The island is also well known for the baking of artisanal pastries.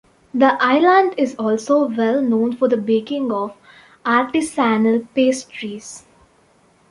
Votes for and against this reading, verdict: 2, 0, accepted